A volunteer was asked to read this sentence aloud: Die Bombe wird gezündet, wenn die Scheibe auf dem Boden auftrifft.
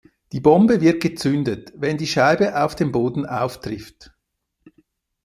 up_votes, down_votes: 2, 0